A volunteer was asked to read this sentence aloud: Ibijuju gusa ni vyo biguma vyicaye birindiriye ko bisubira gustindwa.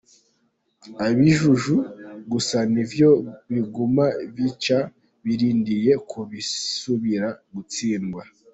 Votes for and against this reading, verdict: 0, 2, rejected